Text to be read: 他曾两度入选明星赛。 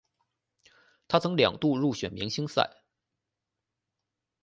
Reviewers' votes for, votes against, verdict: 2, 0, accepted